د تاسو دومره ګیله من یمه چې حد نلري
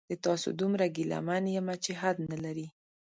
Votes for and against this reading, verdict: 2, 0, accepted